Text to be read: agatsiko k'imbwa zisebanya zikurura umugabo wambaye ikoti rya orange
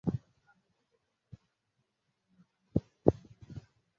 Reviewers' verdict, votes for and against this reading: rejected, 0, 2